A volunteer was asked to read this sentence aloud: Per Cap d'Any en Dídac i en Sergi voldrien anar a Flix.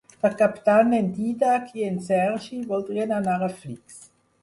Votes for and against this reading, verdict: 6, 0, accepted